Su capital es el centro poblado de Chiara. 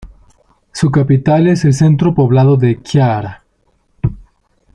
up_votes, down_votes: 2, 0